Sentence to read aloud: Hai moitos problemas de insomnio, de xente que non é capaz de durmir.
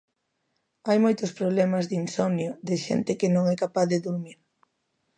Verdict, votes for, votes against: accepted, 2, 0